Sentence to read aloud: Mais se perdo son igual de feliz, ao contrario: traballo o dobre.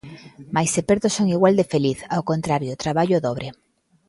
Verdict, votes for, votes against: accepted, 2, 0